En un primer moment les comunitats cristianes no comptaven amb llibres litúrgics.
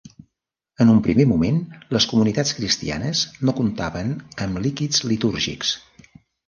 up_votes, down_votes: 1, 2